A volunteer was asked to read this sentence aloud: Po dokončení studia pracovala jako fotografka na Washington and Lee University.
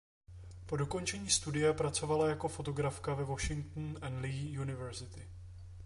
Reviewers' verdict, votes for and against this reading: rejected, 0, 2